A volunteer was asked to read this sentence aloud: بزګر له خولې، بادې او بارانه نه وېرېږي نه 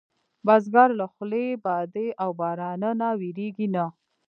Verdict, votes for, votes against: rejected, 1, 2